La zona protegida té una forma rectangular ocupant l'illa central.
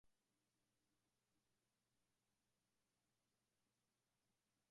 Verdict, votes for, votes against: rejected, 1, 2